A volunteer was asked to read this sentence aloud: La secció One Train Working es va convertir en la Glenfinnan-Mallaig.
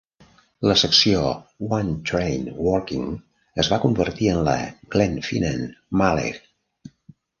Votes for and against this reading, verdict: 1, 2, rejected